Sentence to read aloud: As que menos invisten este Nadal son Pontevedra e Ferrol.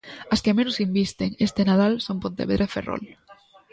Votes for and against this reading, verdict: 1, 2, rejected